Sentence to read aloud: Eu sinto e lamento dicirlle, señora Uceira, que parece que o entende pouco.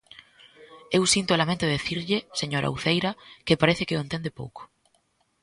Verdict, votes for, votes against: rejected, 1, 2